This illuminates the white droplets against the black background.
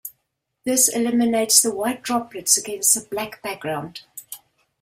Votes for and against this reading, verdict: 0, 2, rejected